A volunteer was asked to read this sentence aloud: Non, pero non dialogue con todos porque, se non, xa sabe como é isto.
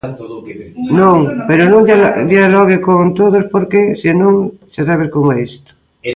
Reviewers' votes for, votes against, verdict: 0, 2, rejected